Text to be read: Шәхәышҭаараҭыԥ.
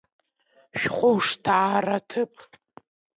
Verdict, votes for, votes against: accepted, 2, 1